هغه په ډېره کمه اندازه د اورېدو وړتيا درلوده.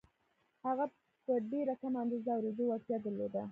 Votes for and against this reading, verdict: 1, 2, rejected